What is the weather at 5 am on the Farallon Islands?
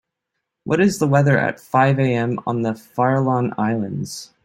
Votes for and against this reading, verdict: 0, 2, rejected